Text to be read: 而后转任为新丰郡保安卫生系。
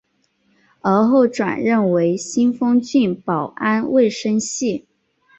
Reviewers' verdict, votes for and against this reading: accepted, 2, 0